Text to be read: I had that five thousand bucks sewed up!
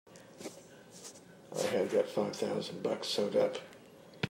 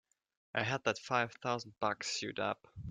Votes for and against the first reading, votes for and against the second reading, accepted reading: 0, 2, 3, 0, second